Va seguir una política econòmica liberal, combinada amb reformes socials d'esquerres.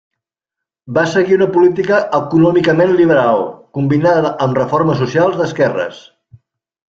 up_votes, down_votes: 1, 2